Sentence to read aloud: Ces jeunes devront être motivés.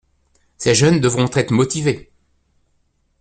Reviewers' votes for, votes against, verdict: 2, 0, accepted